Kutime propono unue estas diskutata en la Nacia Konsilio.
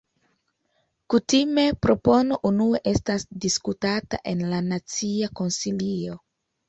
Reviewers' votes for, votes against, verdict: 1, 2, rejected